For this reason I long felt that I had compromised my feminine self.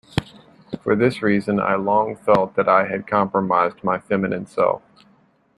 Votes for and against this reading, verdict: 2, 0, accepted